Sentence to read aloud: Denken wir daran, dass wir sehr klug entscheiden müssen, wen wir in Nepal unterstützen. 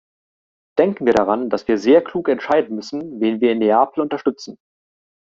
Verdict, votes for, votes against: accepted, 3, 2